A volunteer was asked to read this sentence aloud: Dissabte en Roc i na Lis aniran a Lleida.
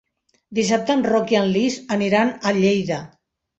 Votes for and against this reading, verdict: 1, 2, rejected